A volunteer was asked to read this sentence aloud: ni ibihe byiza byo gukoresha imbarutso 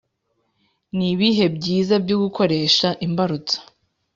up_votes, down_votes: 2, 0